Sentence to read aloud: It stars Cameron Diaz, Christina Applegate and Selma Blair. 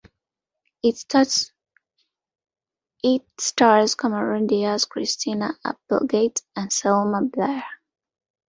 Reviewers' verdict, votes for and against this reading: rejected, 0, 2